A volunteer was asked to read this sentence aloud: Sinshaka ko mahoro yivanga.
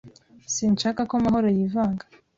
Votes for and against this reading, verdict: 2, 0, accepted